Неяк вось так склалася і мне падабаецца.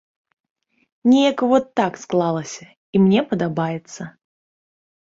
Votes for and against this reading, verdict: 0, 2, rejected